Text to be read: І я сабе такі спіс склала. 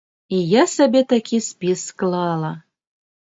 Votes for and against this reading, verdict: 2, 0, accepted